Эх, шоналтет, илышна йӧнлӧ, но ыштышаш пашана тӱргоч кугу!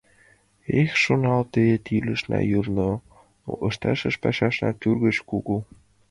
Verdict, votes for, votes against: rejected, 0, 2